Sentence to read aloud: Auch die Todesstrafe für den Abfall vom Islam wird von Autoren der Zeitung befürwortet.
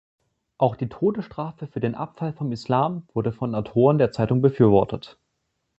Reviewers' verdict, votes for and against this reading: rejected, 0, 2